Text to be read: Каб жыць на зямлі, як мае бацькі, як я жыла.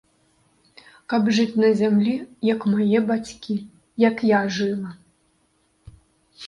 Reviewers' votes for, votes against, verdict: 2, 0, accepted